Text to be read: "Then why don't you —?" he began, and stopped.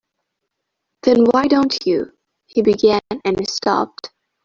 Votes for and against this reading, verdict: 1, 2, rejected